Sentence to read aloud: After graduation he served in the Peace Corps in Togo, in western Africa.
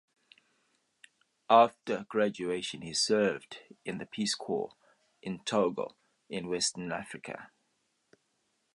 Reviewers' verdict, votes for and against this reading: accepted, 2, 0